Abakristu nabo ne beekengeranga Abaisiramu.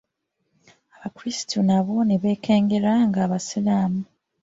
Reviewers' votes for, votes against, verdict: 0, 2, rejected